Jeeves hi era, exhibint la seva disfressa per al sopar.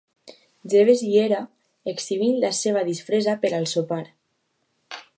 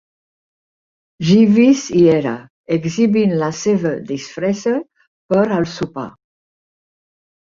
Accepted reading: first